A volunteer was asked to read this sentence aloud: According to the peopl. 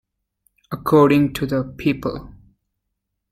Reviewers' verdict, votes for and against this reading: rejected, 0, 2